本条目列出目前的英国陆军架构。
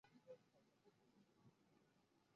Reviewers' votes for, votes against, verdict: 0, 2, rejected